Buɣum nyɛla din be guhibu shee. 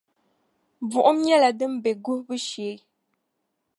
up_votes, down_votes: 2, 0